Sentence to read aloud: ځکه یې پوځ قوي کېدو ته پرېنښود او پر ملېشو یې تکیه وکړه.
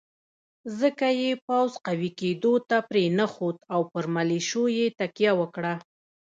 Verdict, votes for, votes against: accepted, 3, 2